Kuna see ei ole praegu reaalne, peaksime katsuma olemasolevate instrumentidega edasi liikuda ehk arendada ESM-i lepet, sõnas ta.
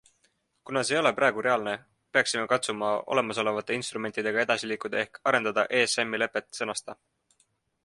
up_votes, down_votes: 2, 0